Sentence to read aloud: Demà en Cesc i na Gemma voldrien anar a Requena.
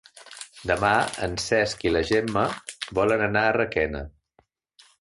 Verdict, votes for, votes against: rejected, 1, 4